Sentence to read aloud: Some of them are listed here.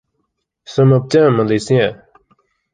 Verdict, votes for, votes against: rejected, 1, 2